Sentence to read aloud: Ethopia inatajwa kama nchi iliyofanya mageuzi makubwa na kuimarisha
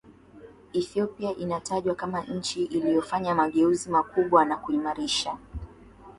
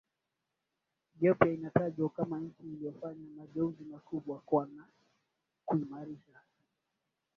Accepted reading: first